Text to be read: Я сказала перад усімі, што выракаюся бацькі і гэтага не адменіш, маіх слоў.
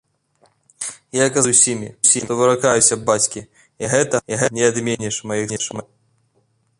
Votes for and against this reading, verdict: 0, 2, rejected